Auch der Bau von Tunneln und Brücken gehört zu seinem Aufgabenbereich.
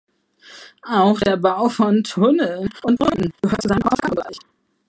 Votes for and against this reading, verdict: 1, 2, rejected